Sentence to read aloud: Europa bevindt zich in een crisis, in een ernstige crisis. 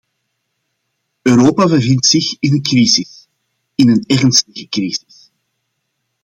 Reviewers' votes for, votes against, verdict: 1, 2, rejected